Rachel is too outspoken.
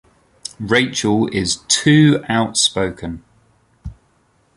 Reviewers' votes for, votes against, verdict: 2, 0, accepted